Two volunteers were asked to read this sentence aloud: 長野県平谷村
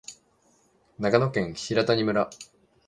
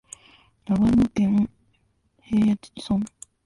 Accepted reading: first